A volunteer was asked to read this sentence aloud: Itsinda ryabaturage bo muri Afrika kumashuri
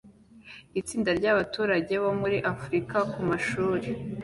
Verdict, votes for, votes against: accepted, 2, 0